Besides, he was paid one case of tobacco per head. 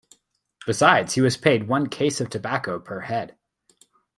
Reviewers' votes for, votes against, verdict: 2, 0, accepted